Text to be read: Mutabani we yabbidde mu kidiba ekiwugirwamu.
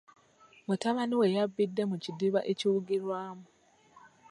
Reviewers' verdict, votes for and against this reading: accepted, 2, 0